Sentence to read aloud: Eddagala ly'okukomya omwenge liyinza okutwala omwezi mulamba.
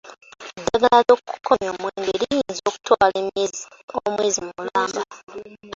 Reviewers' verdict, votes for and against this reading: rejected, 0, 2